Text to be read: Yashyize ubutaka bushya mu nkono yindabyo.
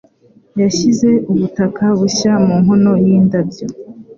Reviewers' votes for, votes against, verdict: 3, 0, accepted